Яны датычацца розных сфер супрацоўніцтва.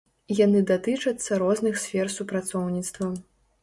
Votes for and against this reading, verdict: 3, 0, accepted